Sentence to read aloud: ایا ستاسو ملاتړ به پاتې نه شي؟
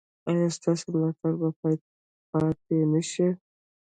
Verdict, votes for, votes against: rejected, 1, 2